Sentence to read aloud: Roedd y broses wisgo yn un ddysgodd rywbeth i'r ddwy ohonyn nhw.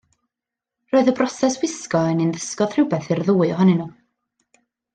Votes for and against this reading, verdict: 2, 0, accepted